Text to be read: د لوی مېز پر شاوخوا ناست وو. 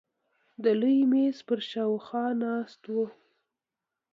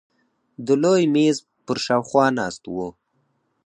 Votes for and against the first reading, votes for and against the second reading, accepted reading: 2, 0, 0, 4, first